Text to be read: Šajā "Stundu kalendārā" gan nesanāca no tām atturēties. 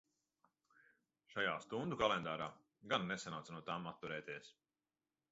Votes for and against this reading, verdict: 2, 0, accepted